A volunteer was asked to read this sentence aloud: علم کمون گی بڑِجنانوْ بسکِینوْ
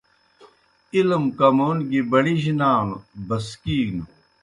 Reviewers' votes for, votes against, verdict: 2, 0, accepted